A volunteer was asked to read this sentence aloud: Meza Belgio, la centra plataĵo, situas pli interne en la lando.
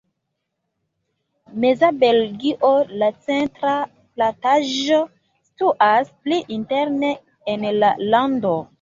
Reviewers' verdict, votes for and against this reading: accepted, 2, 1